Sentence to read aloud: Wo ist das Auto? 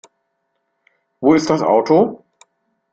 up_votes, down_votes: 2, 0